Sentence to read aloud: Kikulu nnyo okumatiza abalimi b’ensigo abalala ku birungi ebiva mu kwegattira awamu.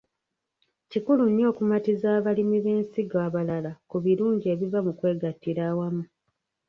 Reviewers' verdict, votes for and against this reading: rejected, 1, 2